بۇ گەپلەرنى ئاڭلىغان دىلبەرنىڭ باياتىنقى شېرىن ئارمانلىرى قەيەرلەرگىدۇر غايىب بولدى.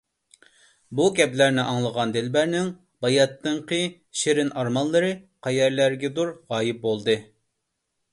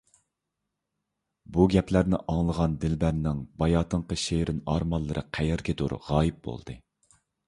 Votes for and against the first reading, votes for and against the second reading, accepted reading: 2, 0, 1, 2, first